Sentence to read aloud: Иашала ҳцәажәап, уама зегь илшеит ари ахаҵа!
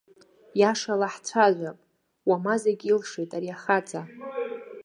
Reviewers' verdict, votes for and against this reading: accepted, 2, 1